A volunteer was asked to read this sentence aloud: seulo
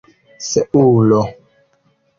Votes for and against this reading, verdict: 2, 0, accepted